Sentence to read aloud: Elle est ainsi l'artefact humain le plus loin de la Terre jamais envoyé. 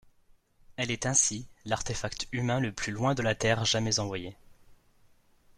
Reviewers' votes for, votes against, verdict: 2, 0, accepted